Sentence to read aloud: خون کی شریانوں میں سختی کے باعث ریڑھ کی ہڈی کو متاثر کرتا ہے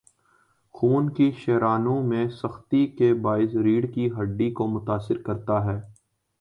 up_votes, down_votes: 2, 0